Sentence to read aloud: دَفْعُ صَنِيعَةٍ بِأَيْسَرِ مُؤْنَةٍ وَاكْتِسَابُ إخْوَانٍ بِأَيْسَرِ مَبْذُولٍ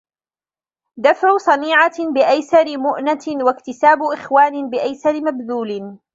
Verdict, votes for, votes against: accepted, 2, 0